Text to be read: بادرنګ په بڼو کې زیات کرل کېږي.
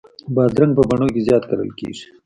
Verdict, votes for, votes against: rejected, 1, 2